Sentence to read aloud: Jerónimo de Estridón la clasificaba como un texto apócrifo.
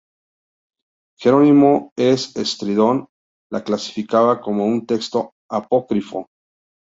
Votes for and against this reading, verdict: 0, 2, rejected